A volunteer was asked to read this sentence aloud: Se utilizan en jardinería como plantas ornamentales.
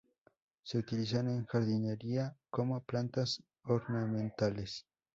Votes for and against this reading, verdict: 2, 0, accepted